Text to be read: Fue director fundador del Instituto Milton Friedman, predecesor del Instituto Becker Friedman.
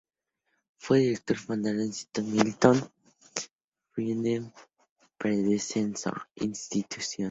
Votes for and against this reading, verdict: 2, 2, rejected